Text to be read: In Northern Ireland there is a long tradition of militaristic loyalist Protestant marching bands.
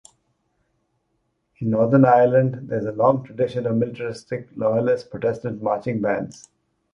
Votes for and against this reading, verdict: 2, 1, accepted